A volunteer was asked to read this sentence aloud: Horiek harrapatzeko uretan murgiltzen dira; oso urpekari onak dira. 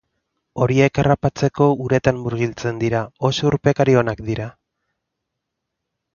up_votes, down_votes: 2, 0